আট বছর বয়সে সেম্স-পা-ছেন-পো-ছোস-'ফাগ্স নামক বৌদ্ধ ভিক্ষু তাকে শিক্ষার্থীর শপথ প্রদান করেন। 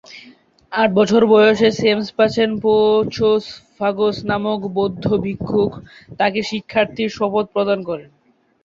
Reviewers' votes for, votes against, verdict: 0, 2, rejected